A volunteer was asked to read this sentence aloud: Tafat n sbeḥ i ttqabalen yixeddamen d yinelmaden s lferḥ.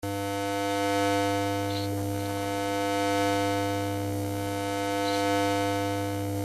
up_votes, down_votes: 0, 2